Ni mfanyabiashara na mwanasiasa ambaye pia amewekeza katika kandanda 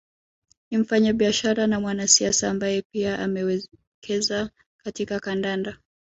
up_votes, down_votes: 0, 2